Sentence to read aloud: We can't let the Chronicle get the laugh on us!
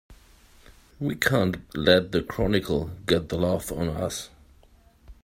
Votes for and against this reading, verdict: 3, 0, accepted